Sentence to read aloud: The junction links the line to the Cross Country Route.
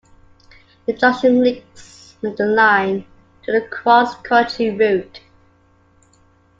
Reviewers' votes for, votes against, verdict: 2, 0, accepted